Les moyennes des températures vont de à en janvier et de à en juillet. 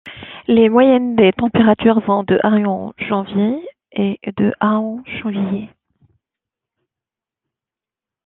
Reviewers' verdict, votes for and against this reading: accepted, 2, 0